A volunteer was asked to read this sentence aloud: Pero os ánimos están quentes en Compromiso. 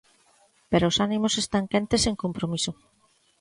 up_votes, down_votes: 2, 0